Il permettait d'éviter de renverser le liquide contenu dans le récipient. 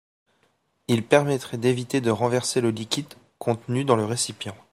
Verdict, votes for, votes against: rejected, 0, 2